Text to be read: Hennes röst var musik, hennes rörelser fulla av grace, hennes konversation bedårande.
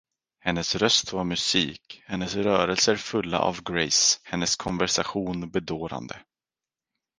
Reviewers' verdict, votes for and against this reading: rejected, 2, 4